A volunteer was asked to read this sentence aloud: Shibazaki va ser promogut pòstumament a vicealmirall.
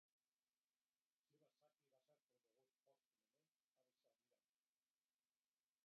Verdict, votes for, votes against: rejected, 0, 2